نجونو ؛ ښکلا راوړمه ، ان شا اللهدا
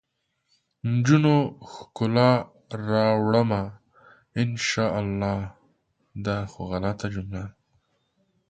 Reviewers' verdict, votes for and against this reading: rejected, 0, 5